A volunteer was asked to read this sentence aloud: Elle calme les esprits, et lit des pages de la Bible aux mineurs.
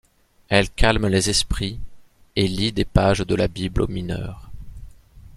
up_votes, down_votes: 2, 0